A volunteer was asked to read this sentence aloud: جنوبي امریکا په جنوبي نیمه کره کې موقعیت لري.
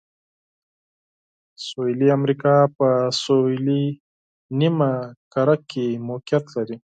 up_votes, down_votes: 2, 4